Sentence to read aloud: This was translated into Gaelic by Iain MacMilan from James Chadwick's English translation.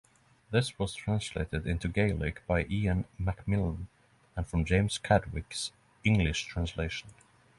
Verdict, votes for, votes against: accepted, 3, 0